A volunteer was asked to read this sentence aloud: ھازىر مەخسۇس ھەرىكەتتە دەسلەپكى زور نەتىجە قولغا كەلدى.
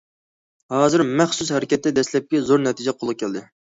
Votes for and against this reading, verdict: 2, 0, accepted